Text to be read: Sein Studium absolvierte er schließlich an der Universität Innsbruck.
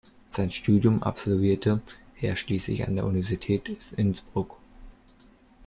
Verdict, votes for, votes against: rejected, 1, 2